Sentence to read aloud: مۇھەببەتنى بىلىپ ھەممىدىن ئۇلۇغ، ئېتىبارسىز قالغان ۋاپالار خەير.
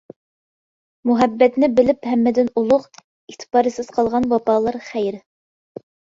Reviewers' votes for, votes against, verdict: 1, 2, rejected